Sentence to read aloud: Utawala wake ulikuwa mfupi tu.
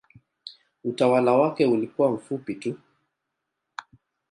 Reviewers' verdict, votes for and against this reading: accepted, 2, 0